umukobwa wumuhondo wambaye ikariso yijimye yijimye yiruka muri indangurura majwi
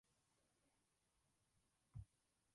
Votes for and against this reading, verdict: 0, 2, rejected